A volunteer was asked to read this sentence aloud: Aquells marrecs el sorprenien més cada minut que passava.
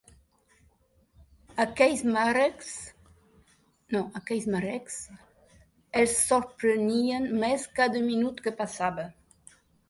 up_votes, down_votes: 0, 2